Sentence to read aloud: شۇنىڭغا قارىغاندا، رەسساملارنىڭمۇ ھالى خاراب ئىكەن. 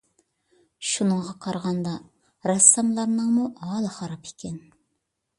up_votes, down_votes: 2, 0